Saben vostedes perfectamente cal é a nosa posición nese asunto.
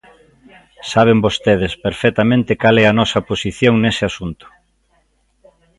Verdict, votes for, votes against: accepted, 2, 0